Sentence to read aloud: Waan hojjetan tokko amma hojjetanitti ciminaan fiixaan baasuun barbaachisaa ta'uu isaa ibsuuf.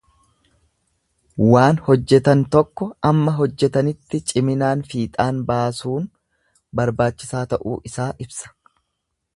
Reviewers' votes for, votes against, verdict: 1, 2, rejected